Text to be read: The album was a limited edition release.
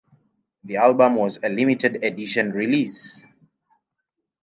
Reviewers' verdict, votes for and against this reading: accepted, 3, 1